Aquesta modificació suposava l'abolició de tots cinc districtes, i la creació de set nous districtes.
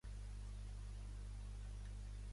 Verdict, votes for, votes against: rejected, 0, 2